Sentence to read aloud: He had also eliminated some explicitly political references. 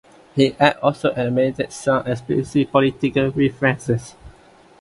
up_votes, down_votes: 3, 0